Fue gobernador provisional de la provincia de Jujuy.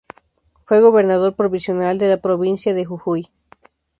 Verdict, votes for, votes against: accepted, 2, 0